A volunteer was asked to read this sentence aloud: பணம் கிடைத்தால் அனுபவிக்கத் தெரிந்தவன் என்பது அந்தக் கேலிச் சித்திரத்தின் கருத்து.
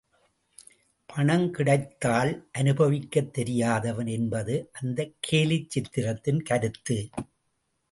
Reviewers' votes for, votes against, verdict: 0, 2, rejected